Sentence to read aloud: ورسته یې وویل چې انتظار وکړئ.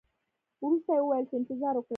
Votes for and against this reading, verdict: 1, 2, rejected